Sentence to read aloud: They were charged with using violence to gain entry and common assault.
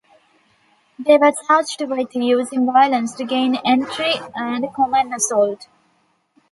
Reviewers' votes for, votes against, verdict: 1, 2, rejected